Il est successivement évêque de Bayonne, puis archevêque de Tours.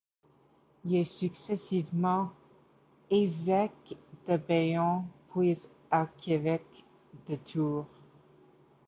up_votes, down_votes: 0, 2